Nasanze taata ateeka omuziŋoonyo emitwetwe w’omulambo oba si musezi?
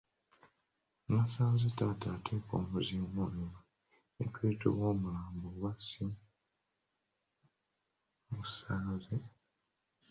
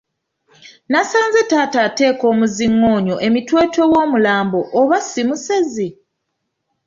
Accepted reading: second